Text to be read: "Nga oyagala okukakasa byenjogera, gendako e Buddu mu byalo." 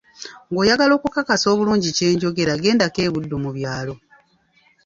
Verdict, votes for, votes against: rejected, 1, 2